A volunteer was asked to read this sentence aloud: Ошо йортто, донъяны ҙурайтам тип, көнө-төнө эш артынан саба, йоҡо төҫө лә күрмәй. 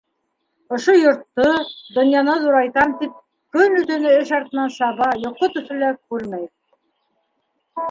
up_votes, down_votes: 2, 0